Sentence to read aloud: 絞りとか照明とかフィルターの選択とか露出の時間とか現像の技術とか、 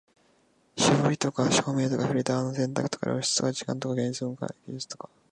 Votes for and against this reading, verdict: 0, 3, rejected